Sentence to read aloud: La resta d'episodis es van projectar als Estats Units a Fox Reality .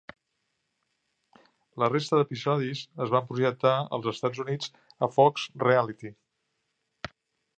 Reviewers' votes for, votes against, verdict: 2, 0, accepted